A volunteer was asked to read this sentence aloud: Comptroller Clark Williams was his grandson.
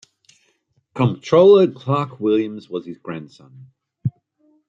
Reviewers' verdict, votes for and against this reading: accepted, 3, 2